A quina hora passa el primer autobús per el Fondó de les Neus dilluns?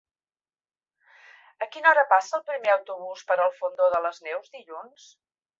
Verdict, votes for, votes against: accepted, 3, 0